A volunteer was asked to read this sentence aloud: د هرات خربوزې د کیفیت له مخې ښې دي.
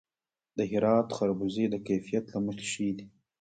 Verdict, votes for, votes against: rejected, 1, 2